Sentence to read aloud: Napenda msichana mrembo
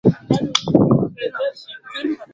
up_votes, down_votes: 0, 3